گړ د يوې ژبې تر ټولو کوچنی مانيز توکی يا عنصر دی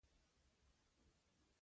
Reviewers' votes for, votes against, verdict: 2, 1, accepted